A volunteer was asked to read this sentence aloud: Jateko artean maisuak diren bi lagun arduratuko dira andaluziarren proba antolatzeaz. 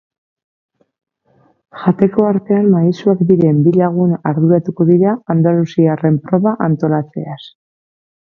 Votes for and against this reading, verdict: 2, 0, accepted